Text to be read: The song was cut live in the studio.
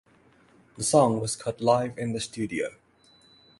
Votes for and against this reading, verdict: 6, 0, accepted